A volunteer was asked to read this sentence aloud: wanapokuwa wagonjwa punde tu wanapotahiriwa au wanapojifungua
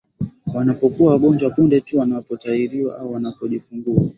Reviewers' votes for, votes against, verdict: 3, 0, accepted